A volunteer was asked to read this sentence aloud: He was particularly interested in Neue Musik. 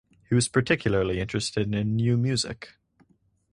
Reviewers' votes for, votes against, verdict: 0, 2, rejected